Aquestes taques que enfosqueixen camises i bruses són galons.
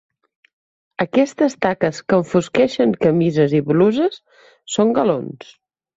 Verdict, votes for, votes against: accepted, 2, 1